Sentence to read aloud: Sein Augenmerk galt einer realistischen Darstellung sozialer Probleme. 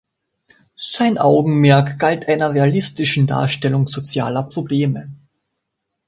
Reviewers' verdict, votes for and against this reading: accepted, 2, 0